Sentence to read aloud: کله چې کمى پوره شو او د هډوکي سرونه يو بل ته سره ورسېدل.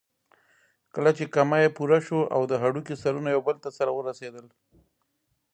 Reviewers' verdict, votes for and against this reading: accepted, 2, 1